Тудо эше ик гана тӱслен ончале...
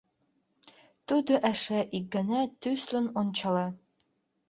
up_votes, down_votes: 1, 2